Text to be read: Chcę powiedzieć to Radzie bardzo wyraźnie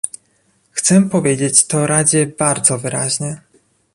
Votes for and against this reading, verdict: 2, 0, accepted